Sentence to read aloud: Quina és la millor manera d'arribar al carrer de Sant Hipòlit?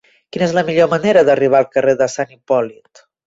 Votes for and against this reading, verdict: 2, 0, accepted